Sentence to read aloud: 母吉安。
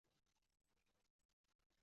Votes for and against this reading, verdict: 0, 4, rejected